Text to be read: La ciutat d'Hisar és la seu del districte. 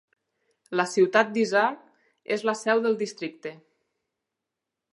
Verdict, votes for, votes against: accepted, 4, 0